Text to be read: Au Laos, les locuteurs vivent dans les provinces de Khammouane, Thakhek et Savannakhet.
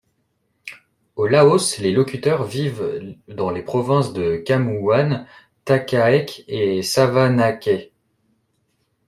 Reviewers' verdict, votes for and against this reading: rejected, 1, 2